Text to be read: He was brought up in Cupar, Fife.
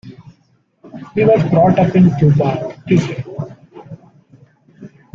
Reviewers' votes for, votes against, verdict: 0, 2, rejected